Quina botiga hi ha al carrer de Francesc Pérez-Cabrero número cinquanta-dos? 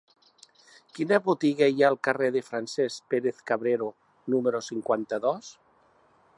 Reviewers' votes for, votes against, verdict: 2, 1, accepted